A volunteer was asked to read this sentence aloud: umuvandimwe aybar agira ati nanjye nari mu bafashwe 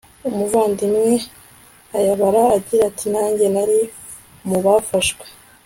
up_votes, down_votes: 2, 0